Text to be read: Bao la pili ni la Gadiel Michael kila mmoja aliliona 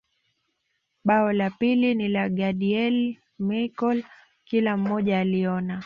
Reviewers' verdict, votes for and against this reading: rejected, 0, 2